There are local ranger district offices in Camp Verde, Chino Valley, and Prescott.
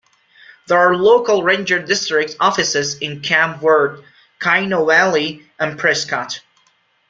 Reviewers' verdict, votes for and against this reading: accepted, 2, 0